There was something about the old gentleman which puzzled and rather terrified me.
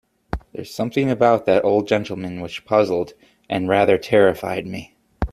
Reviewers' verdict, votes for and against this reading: accepted, 2, 0